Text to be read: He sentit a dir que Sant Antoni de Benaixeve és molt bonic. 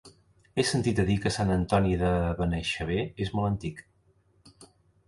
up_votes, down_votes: 1, 2